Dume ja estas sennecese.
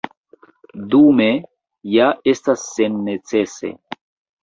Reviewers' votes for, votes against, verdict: 2, 1, accepted